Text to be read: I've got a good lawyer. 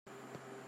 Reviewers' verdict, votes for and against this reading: rejected, 0, 2